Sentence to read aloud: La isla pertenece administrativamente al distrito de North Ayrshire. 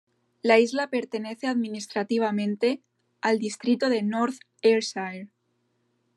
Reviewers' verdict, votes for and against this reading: accepted, 2, 1